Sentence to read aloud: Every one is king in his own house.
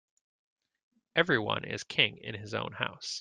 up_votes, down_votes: 2, 0